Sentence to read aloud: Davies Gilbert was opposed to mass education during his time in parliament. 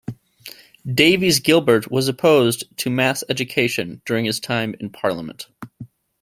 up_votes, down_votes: 2, 0